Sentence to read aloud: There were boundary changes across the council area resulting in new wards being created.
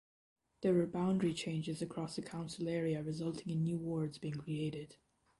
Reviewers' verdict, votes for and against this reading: accepted, 2, 0